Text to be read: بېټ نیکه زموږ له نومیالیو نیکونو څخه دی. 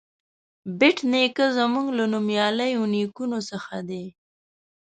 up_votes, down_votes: 2, 0